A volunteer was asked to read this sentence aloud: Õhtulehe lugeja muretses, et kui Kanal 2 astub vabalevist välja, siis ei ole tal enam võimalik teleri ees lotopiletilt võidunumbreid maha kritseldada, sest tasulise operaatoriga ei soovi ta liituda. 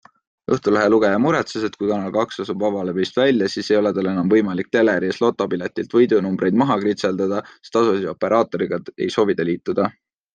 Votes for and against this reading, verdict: 0, 2, rejected